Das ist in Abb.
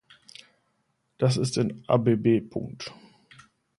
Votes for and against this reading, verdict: 1, 2, rejected